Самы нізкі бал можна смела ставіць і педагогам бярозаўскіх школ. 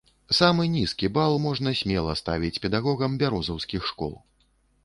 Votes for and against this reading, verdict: 1, 2, rejected